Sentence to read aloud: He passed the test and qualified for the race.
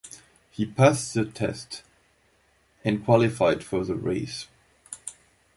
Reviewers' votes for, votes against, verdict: 2, 1, accepted